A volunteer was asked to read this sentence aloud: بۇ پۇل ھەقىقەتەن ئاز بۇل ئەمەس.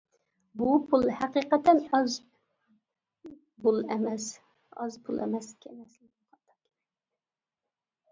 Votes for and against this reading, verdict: 0, 2, rejected